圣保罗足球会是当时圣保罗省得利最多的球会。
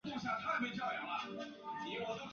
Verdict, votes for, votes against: rejected, 0, 6